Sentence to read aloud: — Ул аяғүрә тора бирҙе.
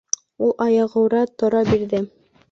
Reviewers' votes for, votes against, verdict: 2, 0, accepted